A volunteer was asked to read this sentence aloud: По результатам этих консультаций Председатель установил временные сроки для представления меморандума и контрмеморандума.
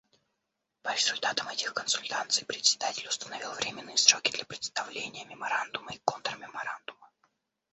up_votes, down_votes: 1, 2